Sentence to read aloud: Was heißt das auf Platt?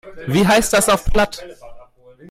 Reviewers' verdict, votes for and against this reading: rejected, 1, 2